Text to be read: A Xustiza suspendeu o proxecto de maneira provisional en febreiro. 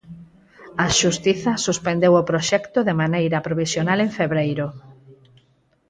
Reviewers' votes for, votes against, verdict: 4, 0, accepted